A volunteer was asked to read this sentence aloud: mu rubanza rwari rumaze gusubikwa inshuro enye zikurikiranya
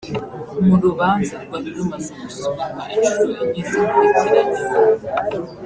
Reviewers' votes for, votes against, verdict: 1, 2, rejected